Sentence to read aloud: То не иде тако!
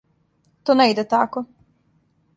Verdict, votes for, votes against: accepted, 2, 0